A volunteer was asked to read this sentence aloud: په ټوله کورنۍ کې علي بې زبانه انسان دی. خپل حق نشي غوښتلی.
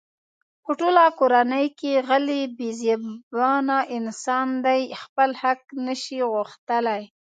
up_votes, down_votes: 1, 2